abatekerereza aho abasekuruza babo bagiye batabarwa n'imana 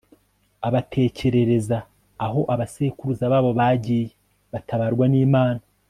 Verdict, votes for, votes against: accepted, 2, 0